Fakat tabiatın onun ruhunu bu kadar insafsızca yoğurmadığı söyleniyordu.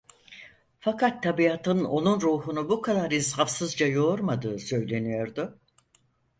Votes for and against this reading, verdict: 4, 0, accepted